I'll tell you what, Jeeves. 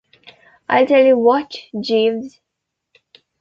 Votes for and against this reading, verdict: 2, 0, accepted